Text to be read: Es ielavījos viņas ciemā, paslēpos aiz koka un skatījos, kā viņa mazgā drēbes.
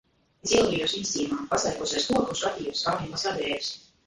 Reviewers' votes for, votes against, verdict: 0, 5, rejected